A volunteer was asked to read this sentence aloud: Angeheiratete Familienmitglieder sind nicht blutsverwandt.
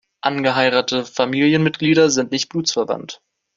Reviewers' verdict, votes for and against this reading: rejected, 0, 2